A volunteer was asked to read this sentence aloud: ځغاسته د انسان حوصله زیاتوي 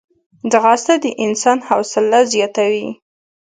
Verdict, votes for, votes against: accepted, 3, 0